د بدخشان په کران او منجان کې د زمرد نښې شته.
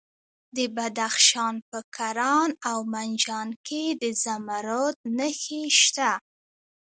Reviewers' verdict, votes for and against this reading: accepted, 2, 0